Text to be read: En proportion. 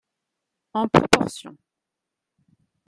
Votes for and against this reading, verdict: 2, 3, rejected